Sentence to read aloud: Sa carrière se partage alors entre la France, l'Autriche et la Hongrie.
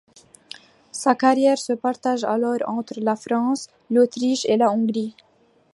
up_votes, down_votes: 2, 0